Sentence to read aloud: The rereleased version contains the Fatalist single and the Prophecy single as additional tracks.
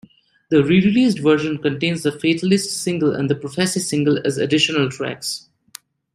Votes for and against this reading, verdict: 2, 1, accepted